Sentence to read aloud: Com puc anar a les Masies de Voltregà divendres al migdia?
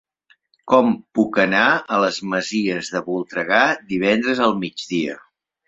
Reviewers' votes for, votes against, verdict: 0, 2, rejected